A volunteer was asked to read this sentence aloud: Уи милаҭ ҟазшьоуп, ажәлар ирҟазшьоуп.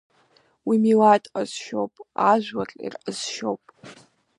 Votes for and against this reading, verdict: 2, 0, accepted